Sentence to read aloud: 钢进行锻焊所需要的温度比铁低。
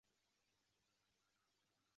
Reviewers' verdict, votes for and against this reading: rejected, 0, 2